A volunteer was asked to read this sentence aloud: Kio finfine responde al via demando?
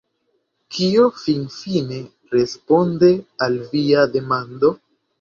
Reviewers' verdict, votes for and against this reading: accepted, 2, 0